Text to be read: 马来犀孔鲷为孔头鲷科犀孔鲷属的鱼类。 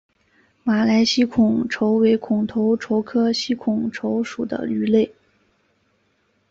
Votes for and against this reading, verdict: 1, 3, rejected